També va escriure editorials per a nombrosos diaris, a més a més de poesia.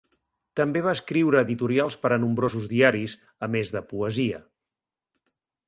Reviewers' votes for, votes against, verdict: 0, 3, rejected